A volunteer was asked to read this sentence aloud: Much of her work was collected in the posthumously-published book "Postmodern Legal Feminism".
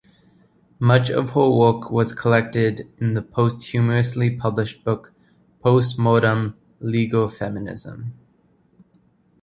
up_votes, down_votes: 1, 2